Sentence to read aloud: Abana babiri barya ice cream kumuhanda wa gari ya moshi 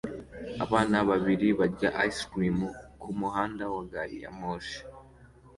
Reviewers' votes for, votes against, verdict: 2, 0, accepted